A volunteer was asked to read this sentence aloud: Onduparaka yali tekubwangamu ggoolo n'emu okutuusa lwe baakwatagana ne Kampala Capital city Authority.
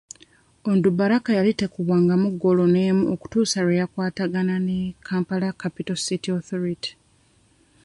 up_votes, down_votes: 1, 3